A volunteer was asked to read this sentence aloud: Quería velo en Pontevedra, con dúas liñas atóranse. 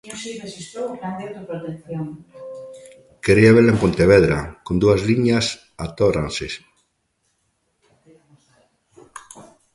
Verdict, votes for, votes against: rejected, 0, 2